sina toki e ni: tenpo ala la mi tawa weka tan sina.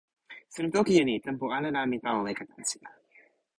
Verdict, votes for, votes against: accepted, 2, 0